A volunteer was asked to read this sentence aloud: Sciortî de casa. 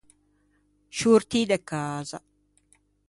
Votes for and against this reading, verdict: 2, 0, accepted